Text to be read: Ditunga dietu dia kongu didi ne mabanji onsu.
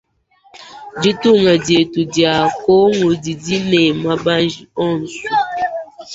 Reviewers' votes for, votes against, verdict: 3, 1, accepted